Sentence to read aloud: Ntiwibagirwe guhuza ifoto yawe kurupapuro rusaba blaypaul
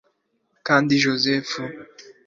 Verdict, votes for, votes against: rejected, 0, 3